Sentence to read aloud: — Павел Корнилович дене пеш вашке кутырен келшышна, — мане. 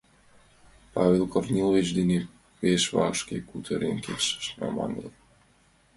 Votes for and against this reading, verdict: 1, 2, rejected